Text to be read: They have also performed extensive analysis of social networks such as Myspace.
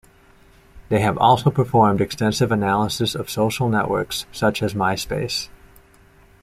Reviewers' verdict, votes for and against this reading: accepted, 2, 0